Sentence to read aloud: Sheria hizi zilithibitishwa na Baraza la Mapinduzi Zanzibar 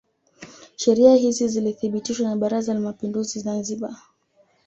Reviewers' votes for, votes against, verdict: 2, 0, accepted